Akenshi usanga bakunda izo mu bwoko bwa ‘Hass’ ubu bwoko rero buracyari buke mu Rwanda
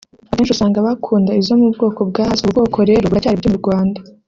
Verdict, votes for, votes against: rejected, 1, 2